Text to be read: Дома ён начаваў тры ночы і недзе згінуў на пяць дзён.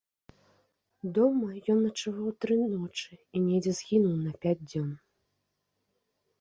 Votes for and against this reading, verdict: 2, 0, accepted